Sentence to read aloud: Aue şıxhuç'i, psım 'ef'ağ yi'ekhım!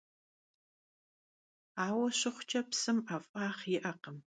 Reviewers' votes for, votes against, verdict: 3, 0, accepted